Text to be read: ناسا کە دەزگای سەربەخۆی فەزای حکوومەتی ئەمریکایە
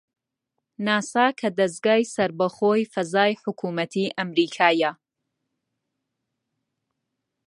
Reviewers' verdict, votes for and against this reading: accepted, 2, 0